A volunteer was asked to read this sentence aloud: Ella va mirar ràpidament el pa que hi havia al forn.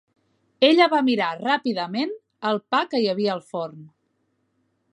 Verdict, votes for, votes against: accepted, 2, 0